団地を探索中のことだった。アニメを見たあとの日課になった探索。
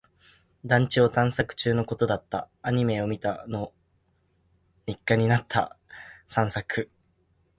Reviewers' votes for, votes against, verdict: 0, 2, rejected